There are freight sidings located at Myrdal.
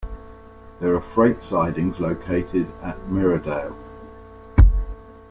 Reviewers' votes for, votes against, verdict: 2, 0, accepted